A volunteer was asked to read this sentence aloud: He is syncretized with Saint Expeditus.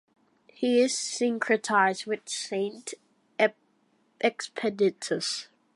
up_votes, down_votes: 0, 2